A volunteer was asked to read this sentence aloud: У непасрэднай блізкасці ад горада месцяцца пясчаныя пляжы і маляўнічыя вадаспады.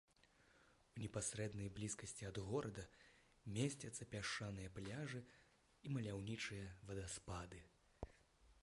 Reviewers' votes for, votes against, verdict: 1, 2, rejected